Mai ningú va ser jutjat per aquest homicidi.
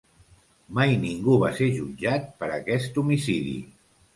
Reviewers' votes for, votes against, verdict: 2, 0, accepted